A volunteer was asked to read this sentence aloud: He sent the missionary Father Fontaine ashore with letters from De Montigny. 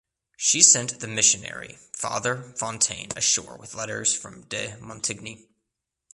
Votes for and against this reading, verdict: 1, 2, rejected